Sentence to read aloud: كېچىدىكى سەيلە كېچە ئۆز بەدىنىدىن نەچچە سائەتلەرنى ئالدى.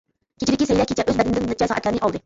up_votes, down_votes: 0, 2